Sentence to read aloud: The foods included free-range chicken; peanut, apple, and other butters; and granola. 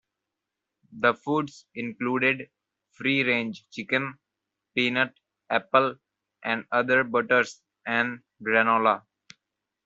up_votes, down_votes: 2, 1